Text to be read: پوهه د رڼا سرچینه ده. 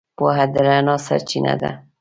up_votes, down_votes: 2, 0